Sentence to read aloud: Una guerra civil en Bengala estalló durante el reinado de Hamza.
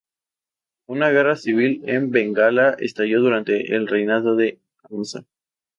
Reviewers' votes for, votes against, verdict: 0, 2, rejected